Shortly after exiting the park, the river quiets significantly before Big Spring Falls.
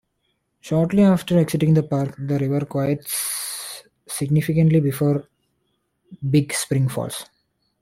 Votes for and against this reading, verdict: 1, 2, rejected